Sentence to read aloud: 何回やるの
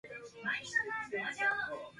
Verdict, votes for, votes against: rejected, 0, 2